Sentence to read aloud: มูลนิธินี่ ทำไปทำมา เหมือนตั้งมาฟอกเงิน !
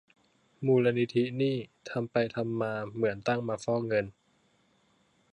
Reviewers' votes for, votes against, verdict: 2, 0, accepted